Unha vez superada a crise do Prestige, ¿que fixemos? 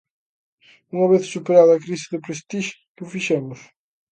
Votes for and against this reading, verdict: 2, 0, accepted